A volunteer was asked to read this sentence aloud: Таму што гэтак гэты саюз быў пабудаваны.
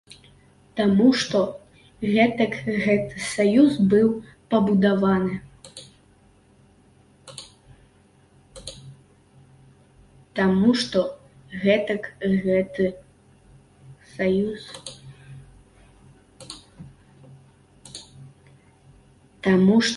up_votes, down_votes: 0, 2